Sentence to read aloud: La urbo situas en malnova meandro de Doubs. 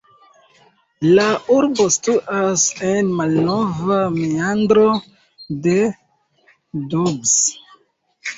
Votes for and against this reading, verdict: 1, 2, rejected